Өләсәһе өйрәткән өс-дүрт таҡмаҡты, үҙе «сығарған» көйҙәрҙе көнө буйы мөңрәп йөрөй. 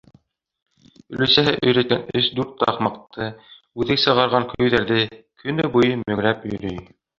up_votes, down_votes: 1, 2